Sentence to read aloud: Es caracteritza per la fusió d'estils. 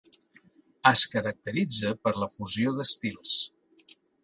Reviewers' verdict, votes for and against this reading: accepted, 2, 0